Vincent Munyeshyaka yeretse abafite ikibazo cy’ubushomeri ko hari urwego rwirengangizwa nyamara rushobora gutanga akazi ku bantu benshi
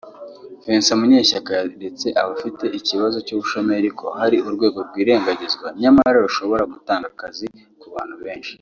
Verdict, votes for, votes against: accepted, 2, 1